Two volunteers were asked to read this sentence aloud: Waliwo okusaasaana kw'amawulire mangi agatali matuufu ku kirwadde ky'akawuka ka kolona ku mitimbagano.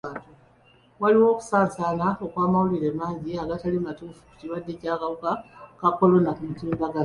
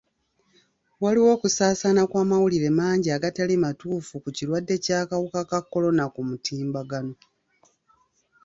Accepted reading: first